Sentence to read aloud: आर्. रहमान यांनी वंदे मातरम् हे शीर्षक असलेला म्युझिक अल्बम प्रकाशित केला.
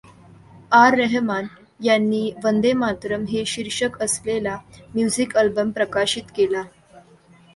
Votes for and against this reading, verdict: 2, 1, accepted